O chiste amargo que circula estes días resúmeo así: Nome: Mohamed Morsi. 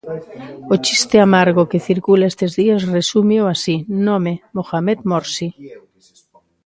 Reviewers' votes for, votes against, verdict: 0, 2, rejected